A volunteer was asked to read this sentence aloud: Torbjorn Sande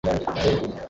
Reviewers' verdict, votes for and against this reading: rejected, 0, 2